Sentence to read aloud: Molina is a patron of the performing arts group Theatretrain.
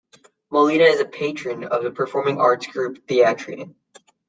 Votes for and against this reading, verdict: 0, 2, rejected